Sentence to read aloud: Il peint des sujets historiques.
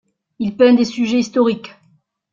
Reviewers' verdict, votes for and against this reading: rejected, 1, 2